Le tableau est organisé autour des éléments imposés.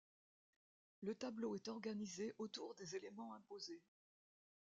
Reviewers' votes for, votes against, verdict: 2, 1, accepted